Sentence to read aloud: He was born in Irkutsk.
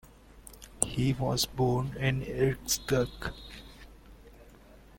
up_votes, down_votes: 1, 2